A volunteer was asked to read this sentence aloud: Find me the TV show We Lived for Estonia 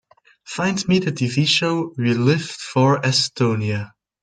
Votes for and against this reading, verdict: 2, 0, accepted